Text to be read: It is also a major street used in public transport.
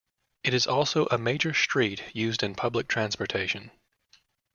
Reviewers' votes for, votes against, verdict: 0, 2, rejected